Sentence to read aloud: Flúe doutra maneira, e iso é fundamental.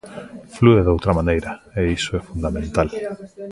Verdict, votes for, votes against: accepted, 2, 0